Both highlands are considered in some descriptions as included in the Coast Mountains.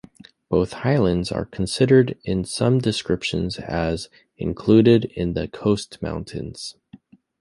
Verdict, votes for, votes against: accepted, 2, 0